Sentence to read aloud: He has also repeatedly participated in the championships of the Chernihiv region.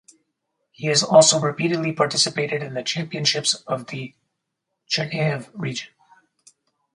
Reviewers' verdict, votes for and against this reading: rejected, 2, 2